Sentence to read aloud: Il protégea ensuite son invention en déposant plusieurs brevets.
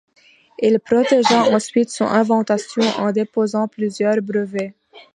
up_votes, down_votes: 0, 2